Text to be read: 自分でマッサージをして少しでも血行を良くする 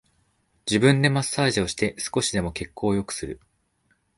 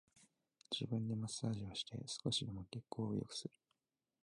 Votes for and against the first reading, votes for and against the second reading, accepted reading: 2, 0, 2, 3, first